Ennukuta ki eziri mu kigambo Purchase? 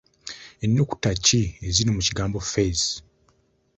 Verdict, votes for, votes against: rejected, 1, 2